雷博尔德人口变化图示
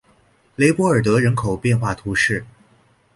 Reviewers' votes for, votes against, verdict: 2, 0, accepted